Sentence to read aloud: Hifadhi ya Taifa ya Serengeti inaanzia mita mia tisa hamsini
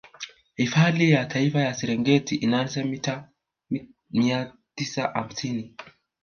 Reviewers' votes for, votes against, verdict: 1, 2, rejected